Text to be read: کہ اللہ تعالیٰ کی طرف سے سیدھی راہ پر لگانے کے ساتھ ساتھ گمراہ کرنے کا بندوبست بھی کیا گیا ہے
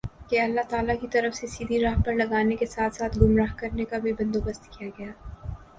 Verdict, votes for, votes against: rejected, 0, 2